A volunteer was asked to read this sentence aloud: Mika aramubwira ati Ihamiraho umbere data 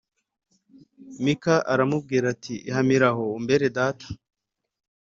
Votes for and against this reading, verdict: 4, 0, accepted